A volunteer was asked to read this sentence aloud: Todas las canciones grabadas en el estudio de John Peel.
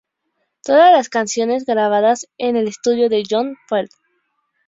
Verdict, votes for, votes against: accepted, 2, 0